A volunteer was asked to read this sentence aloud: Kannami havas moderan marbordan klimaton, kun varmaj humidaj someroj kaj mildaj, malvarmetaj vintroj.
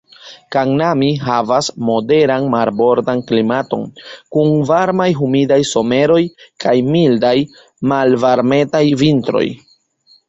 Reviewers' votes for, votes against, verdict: 2, 0, accepted